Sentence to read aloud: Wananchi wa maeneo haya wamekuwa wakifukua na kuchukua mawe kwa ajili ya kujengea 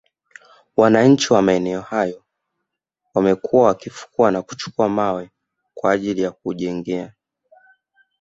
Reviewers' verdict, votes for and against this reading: rejected, 1, 2